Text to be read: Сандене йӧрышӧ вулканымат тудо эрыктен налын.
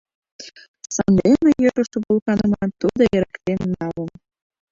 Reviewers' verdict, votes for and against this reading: rejected, 0, 2